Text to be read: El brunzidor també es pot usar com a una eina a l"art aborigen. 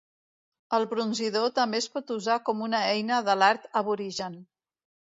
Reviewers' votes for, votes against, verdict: 1, 2, rejected